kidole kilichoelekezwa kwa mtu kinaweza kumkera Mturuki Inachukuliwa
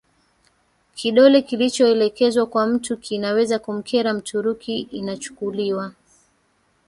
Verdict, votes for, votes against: accepted, 3, 2